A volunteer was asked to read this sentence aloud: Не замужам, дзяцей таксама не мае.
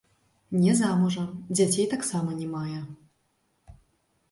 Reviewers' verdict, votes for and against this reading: rejected, 0, 2